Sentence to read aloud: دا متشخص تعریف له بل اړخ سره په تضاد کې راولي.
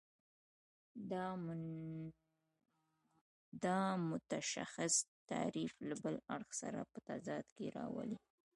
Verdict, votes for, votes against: rejected, 1, 2